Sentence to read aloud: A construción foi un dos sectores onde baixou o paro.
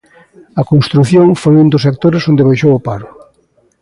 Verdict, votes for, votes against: accepted, 2, 0